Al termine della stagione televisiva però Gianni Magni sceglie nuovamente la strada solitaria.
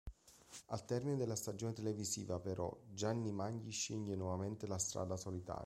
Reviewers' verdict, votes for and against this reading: accepted, 2, 1